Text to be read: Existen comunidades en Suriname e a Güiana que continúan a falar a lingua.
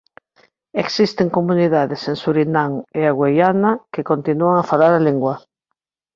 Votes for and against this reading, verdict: 2, 0, accepted